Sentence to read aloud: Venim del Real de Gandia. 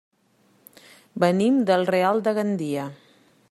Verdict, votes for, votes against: accepted, 3, 0